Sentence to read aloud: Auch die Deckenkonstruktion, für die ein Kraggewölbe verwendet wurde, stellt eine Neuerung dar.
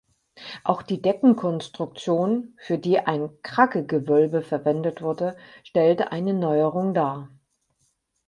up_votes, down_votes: 2, 4